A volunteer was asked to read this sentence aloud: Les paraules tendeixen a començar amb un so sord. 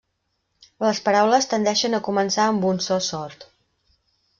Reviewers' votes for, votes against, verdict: 3, 0, accepted